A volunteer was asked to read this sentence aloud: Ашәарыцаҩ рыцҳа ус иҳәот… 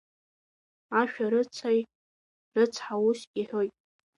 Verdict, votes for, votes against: rejected, 0, 2